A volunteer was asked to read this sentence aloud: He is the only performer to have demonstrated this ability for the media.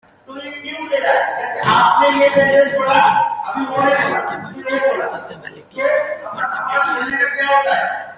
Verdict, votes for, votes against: rejected, 0, 2